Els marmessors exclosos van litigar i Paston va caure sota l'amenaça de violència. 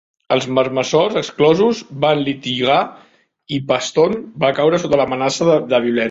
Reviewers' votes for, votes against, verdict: 1, 2, rejected